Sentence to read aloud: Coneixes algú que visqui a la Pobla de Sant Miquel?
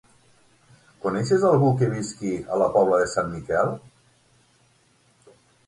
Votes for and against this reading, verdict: 9, 0, accepted